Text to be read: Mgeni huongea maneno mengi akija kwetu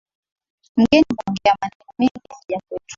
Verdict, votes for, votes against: rejected, 0, 2